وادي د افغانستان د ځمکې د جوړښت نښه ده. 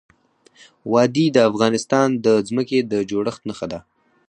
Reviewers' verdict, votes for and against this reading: accepted, 4, 0